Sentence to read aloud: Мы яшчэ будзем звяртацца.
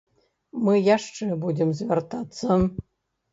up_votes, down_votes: 1, 2